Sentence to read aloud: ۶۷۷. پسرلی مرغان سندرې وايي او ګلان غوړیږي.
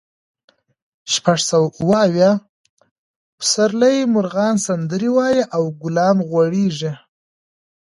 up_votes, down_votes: 0, 2